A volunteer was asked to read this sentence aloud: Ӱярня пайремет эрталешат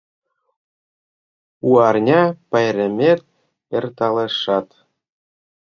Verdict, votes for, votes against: rejected, 0, 2